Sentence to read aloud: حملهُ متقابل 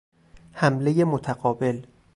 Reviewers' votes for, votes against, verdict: 4, 0, accepted